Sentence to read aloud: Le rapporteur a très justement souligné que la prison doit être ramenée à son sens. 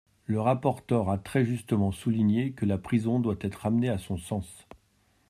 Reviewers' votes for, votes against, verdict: 2, 0, accepted